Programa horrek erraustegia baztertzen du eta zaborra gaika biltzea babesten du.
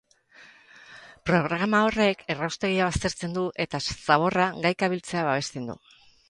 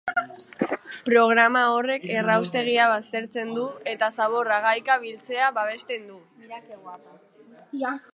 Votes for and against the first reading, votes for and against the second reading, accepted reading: 6, 2, 1, 2, first